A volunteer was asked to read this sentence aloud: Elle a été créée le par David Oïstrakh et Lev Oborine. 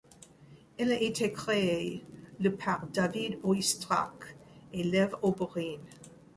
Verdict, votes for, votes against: accepted, 2, 0